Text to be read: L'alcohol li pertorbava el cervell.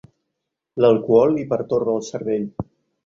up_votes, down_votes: 0, 3